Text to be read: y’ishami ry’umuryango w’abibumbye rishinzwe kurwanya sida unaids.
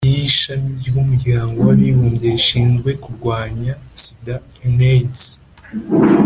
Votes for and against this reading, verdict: 2, 0, accepted